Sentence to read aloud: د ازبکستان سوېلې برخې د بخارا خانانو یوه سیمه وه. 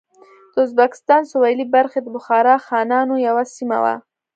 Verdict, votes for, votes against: accepted, 2, 0